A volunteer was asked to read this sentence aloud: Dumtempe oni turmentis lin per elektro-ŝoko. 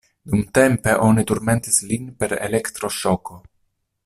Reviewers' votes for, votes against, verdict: 2, 0, accepted